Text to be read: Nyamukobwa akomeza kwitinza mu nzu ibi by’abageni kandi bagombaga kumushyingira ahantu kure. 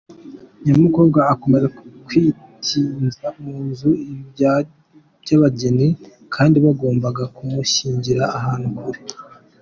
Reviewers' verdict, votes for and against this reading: accepted, 2, 0